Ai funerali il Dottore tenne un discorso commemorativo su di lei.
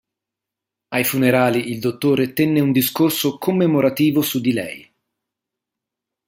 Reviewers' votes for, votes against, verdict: 2, 0, accepted